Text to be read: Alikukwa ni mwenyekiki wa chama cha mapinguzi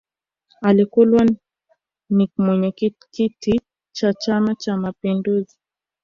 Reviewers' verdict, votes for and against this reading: rejected, 1, 13